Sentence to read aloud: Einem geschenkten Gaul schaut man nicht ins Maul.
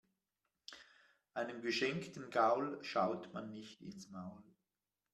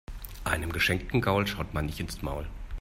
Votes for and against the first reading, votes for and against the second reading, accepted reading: 2, 0, 1, 2, first